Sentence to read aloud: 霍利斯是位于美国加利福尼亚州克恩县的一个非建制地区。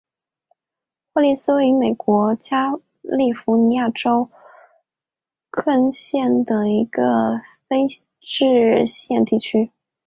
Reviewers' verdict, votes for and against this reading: accepted, 2, 0